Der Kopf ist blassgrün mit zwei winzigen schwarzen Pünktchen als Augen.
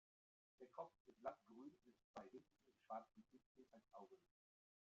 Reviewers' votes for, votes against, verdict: 0, 2, rejected